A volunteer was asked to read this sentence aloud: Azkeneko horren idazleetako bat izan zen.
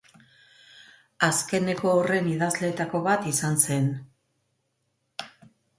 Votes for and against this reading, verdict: 2, 0, accepted